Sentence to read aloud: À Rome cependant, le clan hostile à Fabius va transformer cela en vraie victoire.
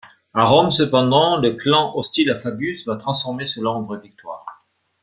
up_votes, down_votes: 2, 0